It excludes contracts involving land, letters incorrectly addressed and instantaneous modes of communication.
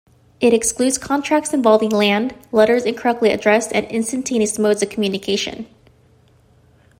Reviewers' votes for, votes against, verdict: 2, 0, accepted